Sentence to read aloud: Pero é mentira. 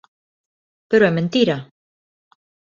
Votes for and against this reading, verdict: 2, 0, accepted